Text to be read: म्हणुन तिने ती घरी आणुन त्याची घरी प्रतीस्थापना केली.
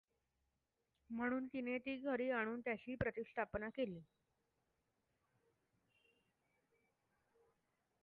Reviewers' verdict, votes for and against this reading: rejected, 1, 2